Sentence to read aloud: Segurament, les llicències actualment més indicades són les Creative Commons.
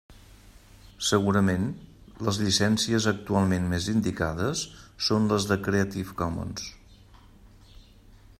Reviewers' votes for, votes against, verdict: 2, 1, accepted